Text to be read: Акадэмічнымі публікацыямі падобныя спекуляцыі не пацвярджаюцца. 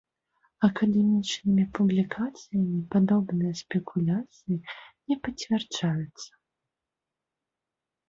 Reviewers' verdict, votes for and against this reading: accepted, 2, 0